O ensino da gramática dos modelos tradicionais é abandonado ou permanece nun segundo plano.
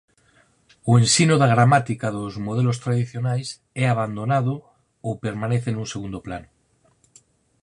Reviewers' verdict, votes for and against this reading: accepted, 4, 0